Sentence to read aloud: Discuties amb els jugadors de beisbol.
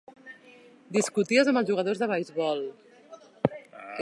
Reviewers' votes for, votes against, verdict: 3, 0, accepted